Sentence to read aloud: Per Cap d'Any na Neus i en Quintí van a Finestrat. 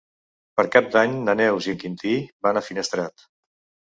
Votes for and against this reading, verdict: 2, 0, accepted